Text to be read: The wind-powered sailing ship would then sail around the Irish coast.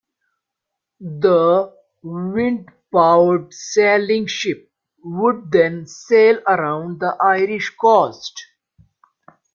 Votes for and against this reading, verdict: 0, 2, rejected